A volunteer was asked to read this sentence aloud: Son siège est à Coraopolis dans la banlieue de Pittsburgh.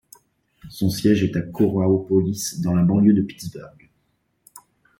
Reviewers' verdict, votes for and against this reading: accepted, 2, 0